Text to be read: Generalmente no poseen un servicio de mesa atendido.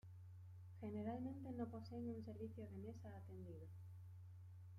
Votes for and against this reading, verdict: 2, 1, accepted